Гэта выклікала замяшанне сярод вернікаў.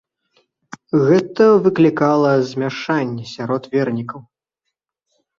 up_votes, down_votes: 0, 2